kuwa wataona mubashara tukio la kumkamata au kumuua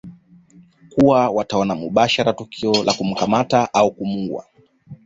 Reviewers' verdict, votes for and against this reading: rejected, 1, 2